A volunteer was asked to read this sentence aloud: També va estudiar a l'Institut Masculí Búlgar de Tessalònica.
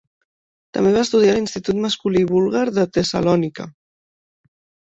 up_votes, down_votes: 1, 2